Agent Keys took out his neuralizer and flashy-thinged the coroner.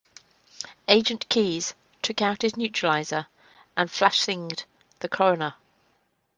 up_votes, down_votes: 2, 0